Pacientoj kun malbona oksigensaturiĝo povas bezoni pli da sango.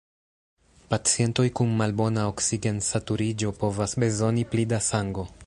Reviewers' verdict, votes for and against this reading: accepted, 2, 0